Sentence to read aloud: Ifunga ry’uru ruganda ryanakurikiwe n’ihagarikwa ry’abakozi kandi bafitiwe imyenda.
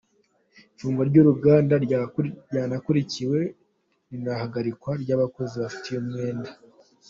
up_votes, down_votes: 1, 3